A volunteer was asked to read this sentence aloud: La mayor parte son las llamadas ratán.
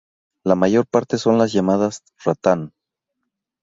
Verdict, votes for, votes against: accepted, 2, 0